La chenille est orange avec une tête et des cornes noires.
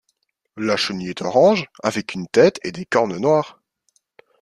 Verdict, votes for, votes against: accepted, 2, 0